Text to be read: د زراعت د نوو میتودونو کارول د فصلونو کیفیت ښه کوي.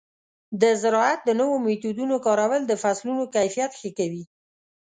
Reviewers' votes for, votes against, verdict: 2, 0, accepted